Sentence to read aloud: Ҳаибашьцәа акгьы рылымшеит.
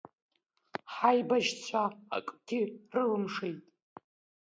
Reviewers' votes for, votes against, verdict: 2, 1, accepted